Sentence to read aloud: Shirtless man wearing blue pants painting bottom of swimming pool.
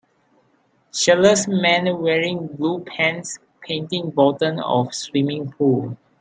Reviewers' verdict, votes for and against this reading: accepted, 3, 1